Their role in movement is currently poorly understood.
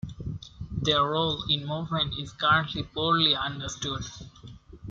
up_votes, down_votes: 2, 0